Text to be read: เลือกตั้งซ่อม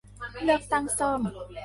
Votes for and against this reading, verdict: 0, 2, rejected